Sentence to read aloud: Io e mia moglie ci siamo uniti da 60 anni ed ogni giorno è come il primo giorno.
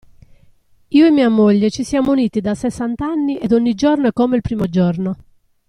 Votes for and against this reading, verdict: 0, 2, rejected